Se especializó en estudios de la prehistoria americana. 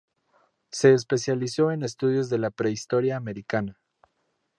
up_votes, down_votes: 2, 0